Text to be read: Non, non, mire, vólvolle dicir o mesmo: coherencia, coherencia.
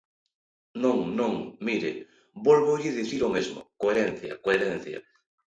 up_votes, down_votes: 2, 0